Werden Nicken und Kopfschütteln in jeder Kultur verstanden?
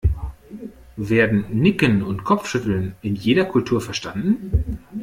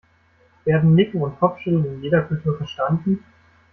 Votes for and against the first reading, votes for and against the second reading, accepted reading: 2, 0, 1, 2, first